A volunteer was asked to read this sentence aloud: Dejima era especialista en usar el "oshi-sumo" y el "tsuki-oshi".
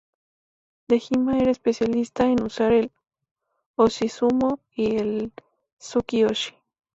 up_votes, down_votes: 4, 0